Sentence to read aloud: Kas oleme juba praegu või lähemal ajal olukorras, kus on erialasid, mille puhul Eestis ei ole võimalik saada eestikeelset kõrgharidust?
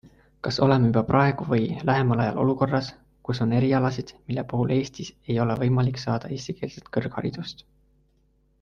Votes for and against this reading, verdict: 4, 1, accepted